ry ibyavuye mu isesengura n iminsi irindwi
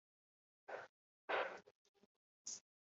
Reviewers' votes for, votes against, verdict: 0, 2, rejected